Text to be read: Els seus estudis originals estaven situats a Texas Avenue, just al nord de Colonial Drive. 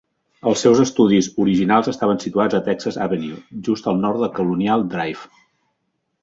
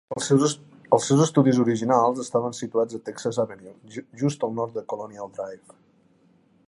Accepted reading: first